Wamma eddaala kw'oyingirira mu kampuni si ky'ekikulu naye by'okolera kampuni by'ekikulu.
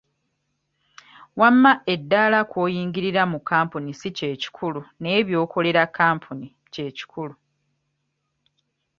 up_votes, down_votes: 0, 2